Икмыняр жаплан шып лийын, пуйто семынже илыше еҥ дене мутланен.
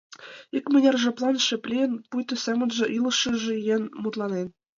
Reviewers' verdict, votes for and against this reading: rejected, 0, 2